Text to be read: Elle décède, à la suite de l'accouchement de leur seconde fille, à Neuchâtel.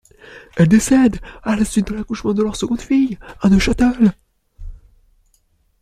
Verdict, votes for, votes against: accepted, 2, 0